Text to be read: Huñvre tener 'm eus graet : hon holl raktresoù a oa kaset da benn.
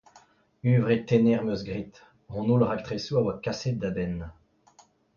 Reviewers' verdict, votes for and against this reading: accepted, 2, 0